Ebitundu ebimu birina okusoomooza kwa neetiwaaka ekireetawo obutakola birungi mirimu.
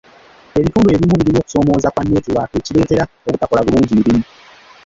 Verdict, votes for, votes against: accepted, 2, 1